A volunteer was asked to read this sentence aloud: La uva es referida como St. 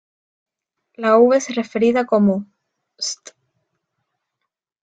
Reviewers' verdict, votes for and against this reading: rejected, 0, 2